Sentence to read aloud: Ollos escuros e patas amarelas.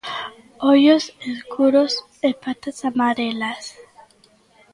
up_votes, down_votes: 0, 2